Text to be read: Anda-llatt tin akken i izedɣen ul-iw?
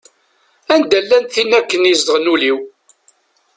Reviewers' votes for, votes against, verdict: 1, 2, rejected